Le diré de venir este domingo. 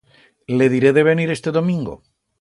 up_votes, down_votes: 2, 0